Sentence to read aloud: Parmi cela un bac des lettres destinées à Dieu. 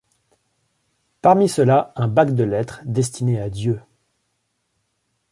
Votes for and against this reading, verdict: 1, 2, rejected